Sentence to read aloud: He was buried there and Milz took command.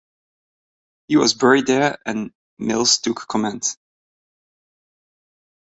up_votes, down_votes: 2, 0